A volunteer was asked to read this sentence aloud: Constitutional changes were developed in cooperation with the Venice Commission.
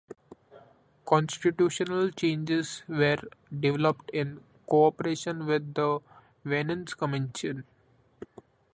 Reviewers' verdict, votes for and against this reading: rejected, 0, 2